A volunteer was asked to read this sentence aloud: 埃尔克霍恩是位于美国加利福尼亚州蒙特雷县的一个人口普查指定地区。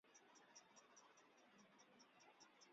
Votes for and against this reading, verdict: 0, 4, rejected